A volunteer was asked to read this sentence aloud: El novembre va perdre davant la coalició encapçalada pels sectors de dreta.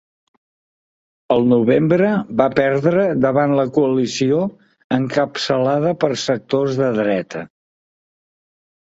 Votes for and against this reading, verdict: 0, 2, rejected